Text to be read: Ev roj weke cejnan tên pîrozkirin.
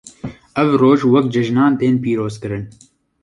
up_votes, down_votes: 2, 1